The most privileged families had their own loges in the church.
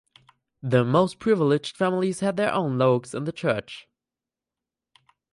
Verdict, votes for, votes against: accepted, 4, 0